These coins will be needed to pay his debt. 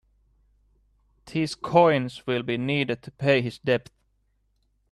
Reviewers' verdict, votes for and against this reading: accepted, 2, 0